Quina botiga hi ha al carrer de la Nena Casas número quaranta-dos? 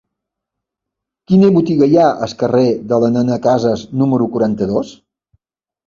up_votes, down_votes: 1, 3